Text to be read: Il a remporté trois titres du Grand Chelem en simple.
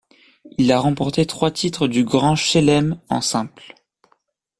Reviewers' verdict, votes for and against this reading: accepted, 2, 0